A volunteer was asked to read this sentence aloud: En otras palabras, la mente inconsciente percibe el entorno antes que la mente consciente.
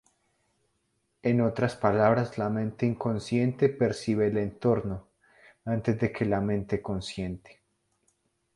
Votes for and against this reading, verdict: 2, 2, rejected